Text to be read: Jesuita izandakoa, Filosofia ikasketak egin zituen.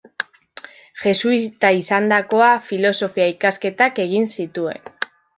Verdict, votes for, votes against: rejected, 0, 2